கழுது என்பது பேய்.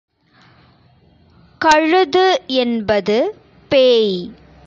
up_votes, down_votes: 3, 0